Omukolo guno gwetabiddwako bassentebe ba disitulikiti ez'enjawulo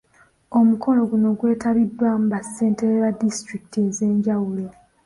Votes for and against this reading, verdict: 2, 0, accepted